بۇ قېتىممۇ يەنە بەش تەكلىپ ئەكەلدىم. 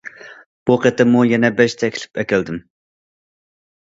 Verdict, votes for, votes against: accepted, 2, 0